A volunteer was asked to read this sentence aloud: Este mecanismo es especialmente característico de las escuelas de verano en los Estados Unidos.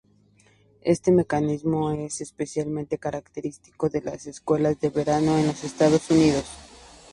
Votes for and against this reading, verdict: 0, 2, rejected